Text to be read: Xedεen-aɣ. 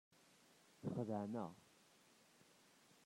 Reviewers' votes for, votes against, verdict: 0, 2, rejected